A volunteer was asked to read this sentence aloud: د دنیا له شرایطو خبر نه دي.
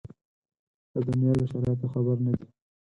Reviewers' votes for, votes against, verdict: 0, 4, rejected